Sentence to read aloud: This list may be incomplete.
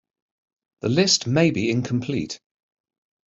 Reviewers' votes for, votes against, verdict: 1, 2, rejected